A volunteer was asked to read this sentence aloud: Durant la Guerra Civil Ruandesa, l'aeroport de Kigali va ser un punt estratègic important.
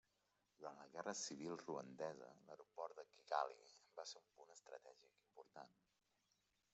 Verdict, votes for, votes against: accepted, 2, 0